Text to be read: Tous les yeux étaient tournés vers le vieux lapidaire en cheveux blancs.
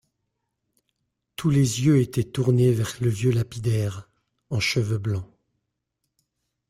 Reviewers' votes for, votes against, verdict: 1, 2, rejected